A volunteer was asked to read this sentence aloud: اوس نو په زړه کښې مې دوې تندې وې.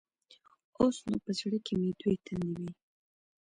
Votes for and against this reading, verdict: 2, 0, accepted